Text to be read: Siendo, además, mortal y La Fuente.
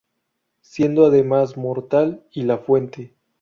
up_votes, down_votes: 2, 0